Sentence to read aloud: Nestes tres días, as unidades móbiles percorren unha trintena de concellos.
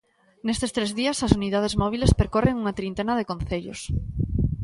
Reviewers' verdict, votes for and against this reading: accepted, 2, 0